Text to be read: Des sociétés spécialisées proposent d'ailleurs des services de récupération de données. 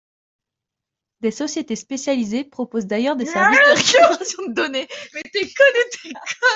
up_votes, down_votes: 1, 2